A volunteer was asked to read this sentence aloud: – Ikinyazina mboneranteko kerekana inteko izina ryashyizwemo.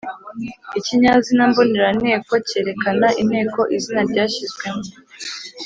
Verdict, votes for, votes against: accepted, 2, 0